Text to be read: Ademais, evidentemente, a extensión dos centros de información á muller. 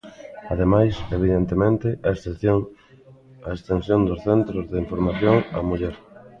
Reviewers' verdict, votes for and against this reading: rejected, 0, 2